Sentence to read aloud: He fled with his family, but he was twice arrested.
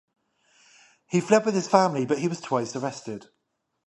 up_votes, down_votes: 5, 0